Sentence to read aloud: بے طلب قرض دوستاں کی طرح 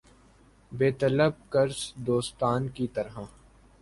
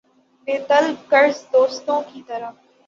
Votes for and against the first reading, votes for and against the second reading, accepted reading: 4, 0, 0, 6, first